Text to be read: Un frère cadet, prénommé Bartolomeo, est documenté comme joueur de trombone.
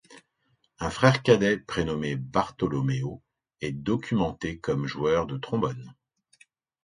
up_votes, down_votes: 2, 0